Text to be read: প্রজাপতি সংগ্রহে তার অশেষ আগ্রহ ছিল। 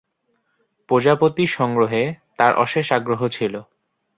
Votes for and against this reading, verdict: 4, 0, accepted